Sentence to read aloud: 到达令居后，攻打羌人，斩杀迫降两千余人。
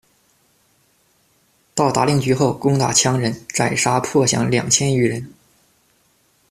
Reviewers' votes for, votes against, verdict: 2, 0, accepted